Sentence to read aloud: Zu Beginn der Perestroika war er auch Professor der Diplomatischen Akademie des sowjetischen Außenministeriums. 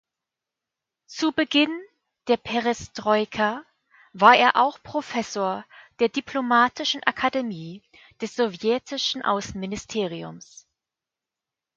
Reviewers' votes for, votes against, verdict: 2, 0, accepted